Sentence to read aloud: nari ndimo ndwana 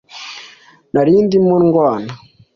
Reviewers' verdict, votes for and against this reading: accepted, 2, 0